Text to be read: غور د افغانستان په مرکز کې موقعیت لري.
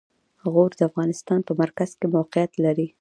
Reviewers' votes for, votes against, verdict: 1, 2, rejected